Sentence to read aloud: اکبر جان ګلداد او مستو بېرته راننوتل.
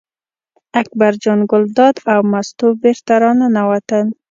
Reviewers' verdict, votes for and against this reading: accepted, 2, 0